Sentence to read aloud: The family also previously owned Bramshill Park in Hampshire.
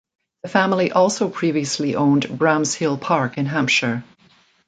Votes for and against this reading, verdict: 2, 0, accepted